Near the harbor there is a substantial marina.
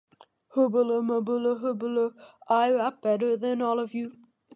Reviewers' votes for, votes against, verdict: 0, 2, rejected